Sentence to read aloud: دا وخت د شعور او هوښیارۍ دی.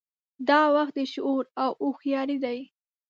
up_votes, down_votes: 2, 0